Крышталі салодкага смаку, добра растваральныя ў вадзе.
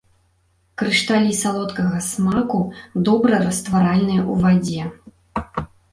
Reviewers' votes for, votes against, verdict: 2, 0, accepted